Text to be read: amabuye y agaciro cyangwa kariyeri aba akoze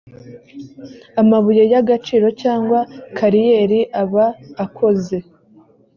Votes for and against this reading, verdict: 2, 0, accepted